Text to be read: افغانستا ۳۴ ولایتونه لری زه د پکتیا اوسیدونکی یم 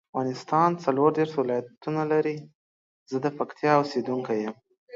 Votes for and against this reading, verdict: 0, 2, rejected